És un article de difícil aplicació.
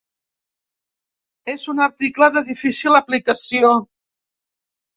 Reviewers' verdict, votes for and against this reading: rejected, 0, 2